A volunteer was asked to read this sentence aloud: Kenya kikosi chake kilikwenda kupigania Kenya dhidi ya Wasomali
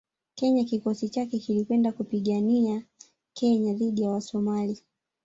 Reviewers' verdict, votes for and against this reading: rejected, 0, 2